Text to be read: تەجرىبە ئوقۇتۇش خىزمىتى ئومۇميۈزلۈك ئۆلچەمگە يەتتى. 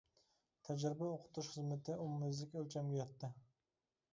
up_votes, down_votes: 0, 2